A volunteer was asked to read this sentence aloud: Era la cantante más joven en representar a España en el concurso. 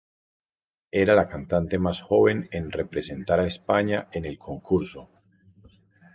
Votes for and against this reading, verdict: 4, 0, accepted